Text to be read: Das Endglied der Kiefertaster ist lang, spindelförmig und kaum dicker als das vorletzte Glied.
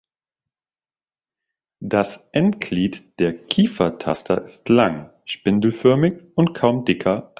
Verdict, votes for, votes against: rejected, 0, 2